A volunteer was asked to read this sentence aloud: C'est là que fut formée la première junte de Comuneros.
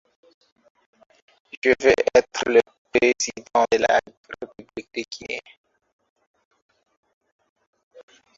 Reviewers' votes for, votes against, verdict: 1, 3, rejected